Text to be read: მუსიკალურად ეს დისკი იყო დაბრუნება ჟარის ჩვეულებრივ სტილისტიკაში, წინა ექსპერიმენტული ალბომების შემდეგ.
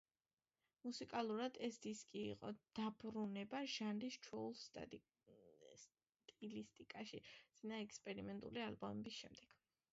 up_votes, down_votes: 1, 2